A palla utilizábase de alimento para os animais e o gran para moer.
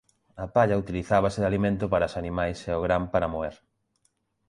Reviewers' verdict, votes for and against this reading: accepted, 2, 0